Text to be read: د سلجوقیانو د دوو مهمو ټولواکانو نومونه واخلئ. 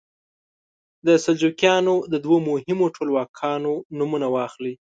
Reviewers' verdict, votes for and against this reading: accepted, 2, 0